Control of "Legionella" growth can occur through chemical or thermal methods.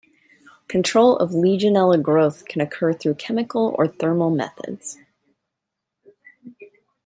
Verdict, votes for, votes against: accepted, 2, 0